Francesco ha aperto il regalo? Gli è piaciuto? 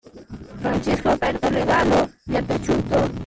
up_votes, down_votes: 1, 2